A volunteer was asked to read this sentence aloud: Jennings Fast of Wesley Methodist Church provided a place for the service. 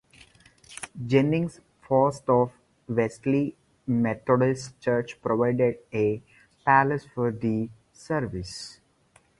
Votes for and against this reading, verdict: 2, 2, rejected